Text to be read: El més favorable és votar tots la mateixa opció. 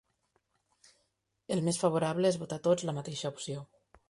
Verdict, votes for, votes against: accepted, 2, 0